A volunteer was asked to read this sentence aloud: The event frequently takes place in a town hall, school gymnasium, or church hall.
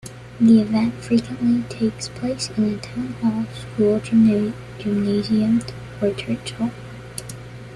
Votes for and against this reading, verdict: 1, 2, rejected